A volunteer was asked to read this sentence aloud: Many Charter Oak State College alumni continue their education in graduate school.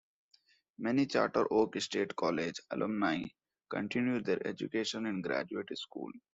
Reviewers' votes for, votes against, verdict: 2, 0, accepted